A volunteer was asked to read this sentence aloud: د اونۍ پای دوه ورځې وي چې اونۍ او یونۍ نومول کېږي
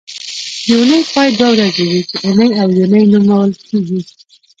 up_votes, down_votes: 0, 2